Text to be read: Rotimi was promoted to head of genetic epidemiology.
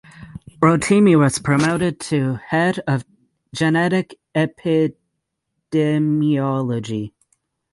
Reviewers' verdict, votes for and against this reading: rejected, 3, 6